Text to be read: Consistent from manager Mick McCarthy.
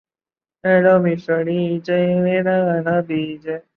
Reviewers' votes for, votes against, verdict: 0, 2, rejected